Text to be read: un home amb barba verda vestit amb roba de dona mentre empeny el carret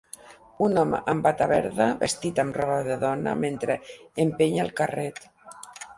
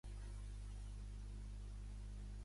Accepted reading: first